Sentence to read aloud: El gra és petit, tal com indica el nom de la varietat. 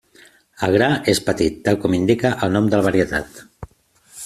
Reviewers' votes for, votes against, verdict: 2, 0, accepted